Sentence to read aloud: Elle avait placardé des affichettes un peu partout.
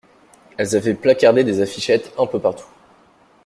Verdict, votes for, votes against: rejected, 0, 2